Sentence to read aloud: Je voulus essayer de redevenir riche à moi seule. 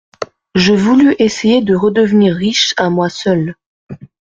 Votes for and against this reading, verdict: 2, 0, accepted